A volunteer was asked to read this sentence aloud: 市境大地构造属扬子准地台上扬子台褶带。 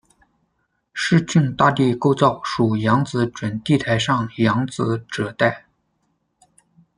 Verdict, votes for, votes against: rejected, 0, 2